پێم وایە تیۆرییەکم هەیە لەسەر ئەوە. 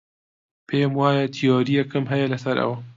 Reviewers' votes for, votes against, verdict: 2, 0, accepted